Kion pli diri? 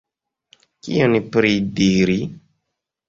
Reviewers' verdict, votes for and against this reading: rejected, 1, 2